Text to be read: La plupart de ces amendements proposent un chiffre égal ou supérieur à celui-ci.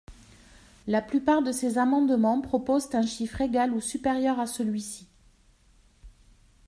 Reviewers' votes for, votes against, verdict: 2, 0, accepted